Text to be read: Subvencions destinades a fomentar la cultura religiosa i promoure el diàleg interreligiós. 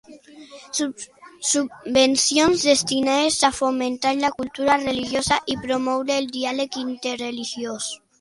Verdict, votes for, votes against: rejected, 1, 2